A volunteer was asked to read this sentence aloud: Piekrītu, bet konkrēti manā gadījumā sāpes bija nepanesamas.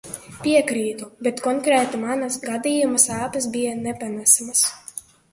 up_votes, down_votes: 0, 2